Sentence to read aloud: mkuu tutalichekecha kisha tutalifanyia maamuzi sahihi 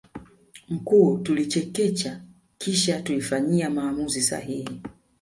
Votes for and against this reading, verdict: 0, 2, rejected